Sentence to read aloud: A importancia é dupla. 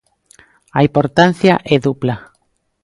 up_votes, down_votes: 2, 0